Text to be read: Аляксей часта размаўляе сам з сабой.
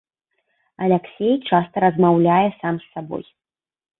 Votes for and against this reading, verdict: 2, 0, accepted